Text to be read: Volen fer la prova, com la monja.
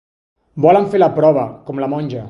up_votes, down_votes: 2, 1